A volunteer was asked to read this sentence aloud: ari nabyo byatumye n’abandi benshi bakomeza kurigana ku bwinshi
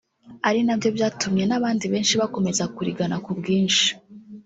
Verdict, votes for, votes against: accepted, 4, 0